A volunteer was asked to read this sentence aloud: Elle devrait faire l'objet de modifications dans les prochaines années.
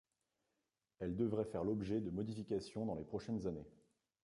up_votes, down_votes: 2, 1